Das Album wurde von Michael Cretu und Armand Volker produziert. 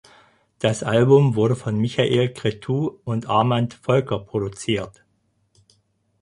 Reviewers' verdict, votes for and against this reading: accepted, 4, 0